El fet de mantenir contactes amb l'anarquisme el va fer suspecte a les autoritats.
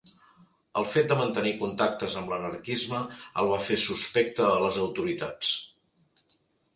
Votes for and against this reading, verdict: 1, 2, rejected